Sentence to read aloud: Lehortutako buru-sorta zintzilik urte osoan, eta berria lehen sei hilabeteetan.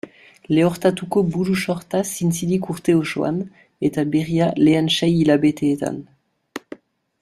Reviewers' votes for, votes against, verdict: 2, 1, accepted